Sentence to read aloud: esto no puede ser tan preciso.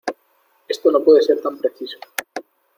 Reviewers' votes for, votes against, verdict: 2, 0, accepted